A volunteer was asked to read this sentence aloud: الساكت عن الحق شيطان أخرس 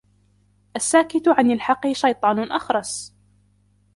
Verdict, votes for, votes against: rejected, 1, 2